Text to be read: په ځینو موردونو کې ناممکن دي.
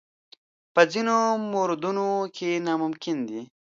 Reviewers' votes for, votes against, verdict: 1, 2, rejected